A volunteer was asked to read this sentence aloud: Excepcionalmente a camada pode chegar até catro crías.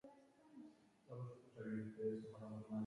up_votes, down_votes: 0, 4